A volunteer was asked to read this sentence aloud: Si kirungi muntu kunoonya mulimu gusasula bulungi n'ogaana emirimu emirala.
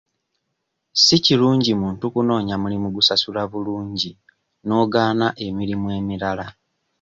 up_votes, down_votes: 2, 0